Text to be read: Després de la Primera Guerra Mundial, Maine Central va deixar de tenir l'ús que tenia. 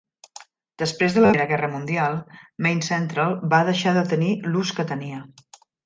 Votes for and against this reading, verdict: 0, 2, rejected